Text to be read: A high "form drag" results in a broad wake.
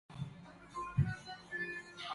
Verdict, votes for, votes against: rejected, 0, 2